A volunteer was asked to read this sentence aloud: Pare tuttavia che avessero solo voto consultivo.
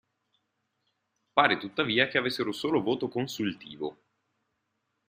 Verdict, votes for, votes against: accepted, 2, 0